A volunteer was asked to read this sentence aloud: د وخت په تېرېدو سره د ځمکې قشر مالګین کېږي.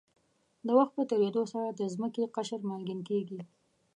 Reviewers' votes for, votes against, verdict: 2, 0, accepted